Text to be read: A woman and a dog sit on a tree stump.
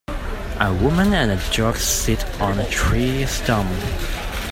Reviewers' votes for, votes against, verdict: 1, 2, rejected